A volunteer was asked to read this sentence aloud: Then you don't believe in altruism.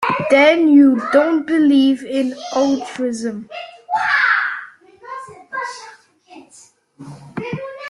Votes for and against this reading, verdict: 1, 2, rejected